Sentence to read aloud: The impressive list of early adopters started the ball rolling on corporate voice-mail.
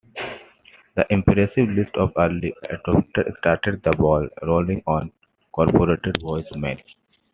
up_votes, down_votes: 2, 1